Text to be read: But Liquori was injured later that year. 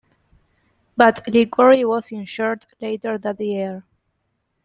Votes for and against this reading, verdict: 2, 0, accepted